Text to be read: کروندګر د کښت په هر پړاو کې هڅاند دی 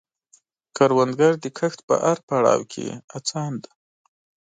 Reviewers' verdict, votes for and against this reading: accepted, 2, 0